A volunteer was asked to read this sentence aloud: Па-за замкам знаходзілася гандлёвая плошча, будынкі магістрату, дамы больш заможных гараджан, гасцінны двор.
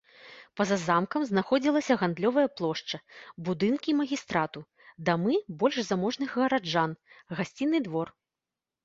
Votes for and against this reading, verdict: 2, 0, accepted